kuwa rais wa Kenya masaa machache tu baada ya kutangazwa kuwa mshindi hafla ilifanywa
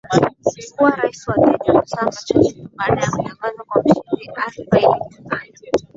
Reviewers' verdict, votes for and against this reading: rejected, 0, 2